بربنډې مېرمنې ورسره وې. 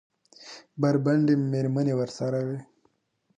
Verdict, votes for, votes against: rejected, 1, 2